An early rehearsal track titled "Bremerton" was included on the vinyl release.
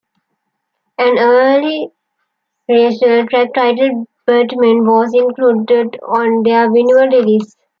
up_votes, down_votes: 0, 2